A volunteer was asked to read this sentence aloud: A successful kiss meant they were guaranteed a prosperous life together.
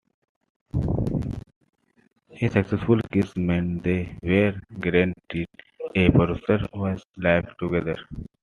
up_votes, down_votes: 2, 1